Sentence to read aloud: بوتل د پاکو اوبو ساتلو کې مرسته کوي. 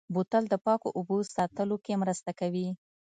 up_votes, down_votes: 2, 0